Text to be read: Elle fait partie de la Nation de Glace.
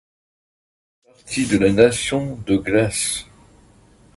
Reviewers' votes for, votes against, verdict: 1, 2, rejected